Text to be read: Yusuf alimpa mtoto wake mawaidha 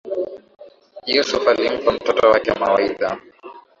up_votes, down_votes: 2, 0